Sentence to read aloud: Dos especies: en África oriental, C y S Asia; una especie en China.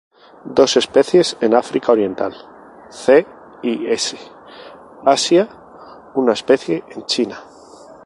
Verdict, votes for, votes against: rejected, 2, 2